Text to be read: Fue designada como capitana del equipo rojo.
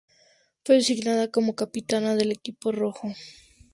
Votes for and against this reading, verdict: 2, 0, accepted